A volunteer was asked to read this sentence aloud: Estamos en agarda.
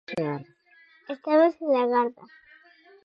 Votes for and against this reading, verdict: 2, 4, rejected